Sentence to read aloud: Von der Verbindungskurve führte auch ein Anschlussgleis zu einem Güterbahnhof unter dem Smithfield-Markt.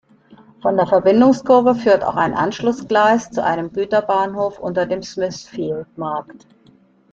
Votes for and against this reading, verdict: 2, 0, accepted